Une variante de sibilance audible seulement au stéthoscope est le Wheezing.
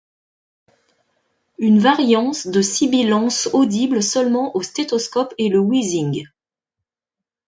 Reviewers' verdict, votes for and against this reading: rejected, 1, 2